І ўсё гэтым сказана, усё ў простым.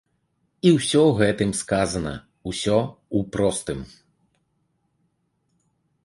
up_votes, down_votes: 3, 0